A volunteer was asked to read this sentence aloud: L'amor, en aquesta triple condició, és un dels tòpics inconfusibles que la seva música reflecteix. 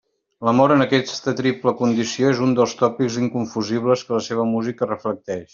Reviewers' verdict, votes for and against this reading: accepted, 3, 1